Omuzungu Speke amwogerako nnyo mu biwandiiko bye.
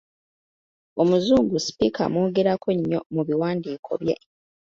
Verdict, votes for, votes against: accepted, 2, 0